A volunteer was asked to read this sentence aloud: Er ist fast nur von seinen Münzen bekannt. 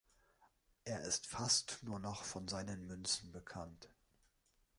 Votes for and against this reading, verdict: 1, 2, rejected